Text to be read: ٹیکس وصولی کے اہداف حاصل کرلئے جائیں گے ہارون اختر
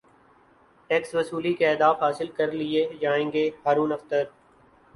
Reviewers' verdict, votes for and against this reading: accepted, 3, 0